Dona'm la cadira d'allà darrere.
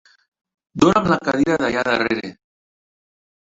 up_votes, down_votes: 1, 2